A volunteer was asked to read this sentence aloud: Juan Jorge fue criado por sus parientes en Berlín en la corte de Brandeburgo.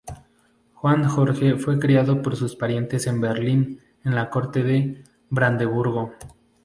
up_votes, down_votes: 2, 0